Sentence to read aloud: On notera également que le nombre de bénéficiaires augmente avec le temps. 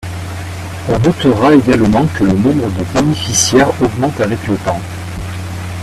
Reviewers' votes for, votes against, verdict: 0, 2, rejected